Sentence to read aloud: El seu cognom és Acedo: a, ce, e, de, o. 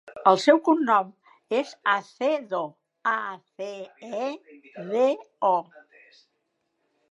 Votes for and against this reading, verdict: 1, 2, rejected